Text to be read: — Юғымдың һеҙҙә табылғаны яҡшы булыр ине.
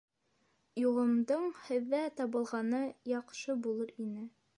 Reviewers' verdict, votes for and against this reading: accepted, 2, 0